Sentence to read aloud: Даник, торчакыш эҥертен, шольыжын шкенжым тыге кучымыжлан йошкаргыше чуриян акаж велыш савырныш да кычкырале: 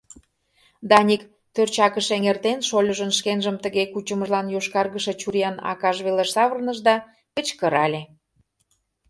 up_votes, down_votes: 0, 2